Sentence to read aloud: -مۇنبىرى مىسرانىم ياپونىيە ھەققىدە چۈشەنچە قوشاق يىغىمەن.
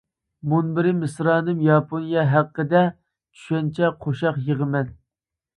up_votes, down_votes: 2, 0